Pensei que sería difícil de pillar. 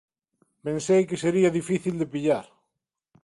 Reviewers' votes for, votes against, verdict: 2, 0, accepted